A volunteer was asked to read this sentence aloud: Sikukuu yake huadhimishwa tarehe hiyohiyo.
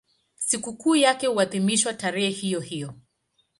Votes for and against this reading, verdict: 6, 2, accepted